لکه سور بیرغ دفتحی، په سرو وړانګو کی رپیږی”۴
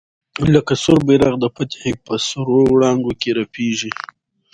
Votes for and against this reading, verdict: 0, 2, rejected